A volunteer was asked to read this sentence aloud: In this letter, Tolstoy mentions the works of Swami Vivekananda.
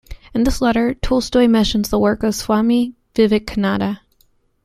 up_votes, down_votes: 1, 2